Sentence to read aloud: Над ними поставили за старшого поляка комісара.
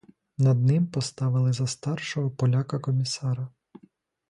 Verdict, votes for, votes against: rejected, 0, 2